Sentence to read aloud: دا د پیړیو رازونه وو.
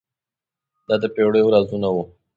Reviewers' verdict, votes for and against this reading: accepted, 2, 0